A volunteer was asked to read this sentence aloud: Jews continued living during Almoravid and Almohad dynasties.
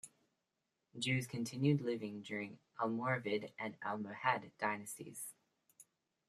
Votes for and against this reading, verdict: 2, 0, accepted